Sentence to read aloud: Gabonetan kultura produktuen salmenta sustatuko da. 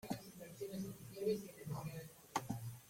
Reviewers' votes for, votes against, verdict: 0, 2, rejected